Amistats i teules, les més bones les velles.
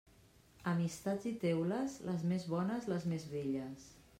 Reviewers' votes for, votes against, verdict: 0, 2, rejected